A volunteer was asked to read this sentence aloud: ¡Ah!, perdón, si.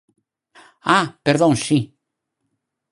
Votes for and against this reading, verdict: 4, 0, accepted